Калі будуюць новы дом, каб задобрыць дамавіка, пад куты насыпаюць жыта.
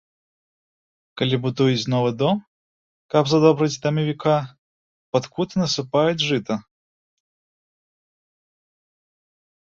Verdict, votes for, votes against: rejected, 0, 2